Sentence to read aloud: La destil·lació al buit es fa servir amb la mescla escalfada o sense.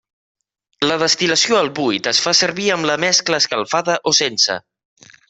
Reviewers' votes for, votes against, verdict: 3, 0, accepted